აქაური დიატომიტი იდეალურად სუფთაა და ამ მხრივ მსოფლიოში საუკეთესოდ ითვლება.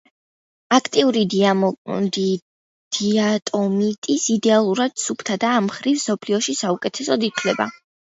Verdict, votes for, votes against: rejected, 0, 2